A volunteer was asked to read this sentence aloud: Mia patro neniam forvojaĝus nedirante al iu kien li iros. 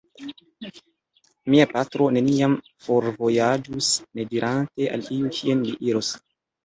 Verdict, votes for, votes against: accepted, 2, 1